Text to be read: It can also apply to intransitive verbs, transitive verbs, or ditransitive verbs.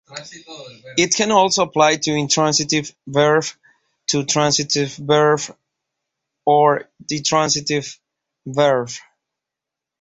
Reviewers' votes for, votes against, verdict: 0, 2, rejected